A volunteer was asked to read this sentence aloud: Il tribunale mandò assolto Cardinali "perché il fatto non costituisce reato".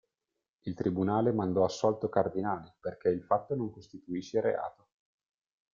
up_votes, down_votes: 2, 1